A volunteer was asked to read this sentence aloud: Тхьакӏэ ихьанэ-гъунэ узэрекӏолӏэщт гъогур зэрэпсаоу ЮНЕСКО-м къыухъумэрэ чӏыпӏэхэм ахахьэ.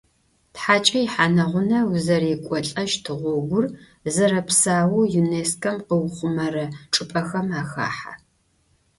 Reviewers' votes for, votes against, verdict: 2, 0, accepted